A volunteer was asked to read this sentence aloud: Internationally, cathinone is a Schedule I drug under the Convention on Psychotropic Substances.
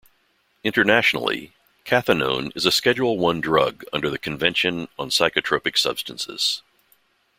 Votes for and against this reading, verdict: 2, 1, accepted